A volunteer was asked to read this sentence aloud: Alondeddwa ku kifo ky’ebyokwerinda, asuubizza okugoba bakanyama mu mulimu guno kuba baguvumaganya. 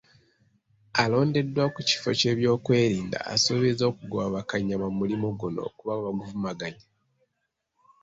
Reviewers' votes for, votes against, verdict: 2, 0, accepted